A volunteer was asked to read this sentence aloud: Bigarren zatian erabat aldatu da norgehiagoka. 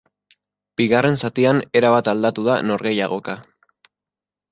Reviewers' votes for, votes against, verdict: 5, 0, accepted